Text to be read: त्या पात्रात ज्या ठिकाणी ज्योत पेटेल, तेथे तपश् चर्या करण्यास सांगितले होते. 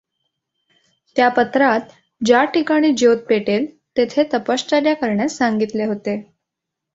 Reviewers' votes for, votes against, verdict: 1, 2, rejected